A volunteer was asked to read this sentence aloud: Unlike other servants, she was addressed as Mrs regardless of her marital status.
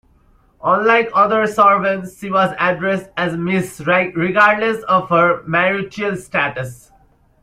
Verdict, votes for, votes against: rejected, 0, 2